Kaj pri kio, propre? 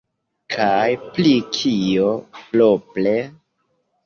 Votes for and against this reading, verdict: 0, 2, rejected